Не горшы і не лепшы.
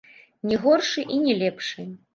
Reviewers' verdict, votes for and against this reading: rejected, 1, 2